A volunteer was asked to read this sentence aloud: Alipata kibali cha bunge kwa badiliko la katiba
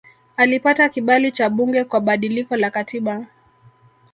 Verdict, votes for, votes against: rejected, 0, 2